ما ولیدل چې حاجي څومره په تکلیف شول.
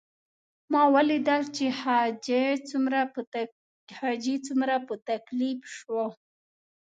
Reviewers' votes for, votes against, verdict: 0, 2, rejected